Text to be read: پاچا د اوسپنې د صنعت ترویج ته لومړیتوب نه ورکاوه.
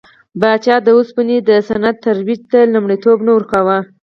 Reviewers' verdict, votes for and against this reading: accepted, 4, 0